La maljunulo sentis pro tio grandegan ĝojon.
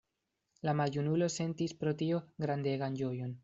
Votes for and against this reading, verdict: 2, 0, accepted